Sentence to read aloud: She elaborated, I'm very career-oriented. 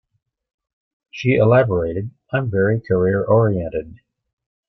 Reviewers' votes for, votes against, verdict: 0, 2, rejected